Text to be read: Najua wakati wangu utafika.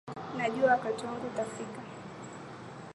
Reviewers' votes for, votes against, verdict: 5, 1, accepted